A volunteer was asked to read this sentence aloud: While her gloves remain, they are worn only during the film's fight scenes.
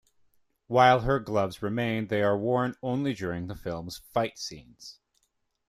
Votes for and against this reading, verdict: 2, 0, accepted